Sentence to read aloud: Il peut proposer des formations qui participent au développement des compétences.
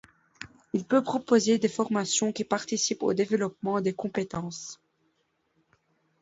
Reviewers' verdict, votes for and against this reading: accepted, 2, 0